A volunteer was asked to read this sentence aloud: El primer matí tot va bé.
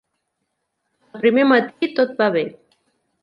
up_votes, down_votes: 1, 2